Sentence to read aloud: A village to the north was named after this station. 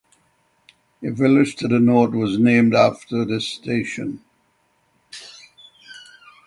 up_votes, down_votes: 6, 0